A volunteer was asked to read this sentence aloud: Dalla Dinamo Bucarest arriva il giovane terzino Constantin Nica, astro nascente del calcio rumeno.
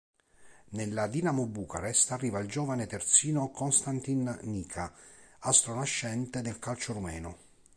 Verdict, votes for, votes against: rejected, 1, 3